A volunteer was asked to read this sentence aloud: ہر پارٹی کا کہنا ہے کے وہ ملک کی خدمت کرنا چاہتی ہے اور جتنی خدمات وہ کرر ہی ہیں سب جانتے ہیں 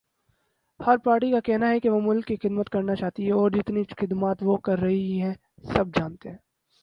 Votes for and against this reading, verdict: 2, 0, accepted